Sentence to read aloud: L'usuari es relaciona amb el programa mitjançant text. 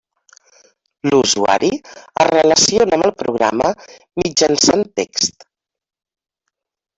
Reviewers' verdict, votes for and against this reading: rejected, 1, 2